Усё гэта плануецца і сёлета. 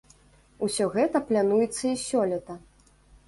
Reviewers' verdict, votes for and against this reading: rejected, 1, 2